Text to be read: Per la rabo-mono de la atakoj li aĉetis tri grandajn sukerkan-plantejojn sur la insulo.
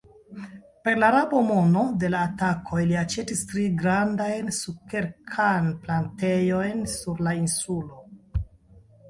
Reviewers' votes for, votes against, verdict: 0, 2, rejected